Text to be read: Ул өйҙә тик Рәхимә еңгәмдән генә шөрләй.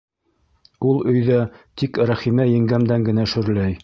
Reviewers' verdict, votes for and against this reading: rejected, 1, 2